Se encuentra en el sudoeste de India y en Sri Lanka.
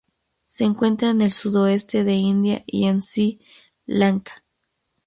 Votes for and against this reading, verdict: 0, 2, rejected